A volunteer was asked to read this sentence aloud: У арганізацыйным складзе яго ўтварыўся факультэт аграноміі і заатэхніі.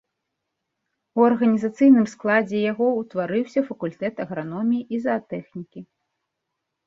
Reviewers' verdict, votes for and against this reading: rejected, 1, 2